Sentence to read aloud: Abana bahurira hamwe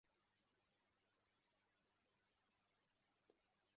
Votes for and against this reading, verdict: 0, 2, rejected